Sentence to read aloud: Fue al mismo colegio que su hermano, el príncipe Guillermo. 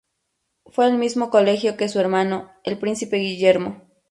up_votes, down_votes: 2, 0